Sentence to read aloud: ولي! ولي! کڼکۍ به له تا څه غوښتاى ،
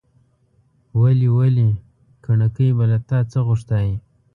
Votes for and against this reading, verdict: 1, 2, rejected